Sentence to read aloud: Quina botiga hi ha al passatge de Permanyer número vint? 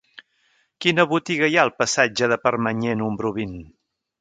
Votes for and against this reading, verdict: 0, 2, rejected